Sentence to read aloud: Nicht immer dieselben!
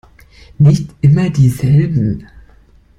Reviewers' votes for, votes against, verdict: 2, 0, accepted